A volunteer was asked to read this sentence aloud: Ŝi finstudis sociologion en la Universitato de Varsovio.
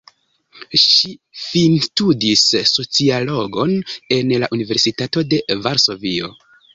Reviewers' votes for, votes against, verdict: 0, 2, rejected